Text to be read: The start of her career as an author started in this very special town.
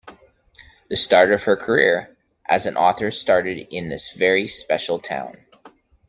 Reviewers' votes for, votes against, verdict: 2, 0, accepted